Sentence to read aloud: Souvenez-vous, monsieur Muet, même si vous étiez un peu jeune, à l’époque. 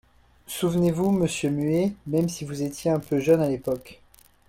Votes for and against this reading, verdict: 0, 2, rejected